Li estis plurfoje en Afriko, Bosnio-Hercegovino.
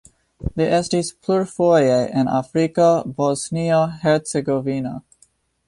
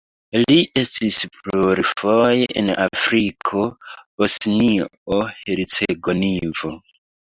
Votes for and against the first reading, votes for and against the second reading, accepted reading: 3, 0, 0, 3, first